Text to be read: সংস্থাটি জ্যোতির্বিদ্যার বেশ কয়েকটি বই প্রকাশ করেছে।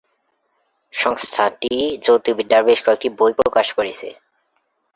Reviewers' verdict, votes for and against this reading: rejected, 5, 6